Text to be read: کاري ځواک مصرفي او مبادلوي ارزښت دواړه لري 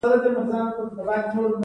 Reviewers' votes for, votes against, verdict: 1, 2, rejected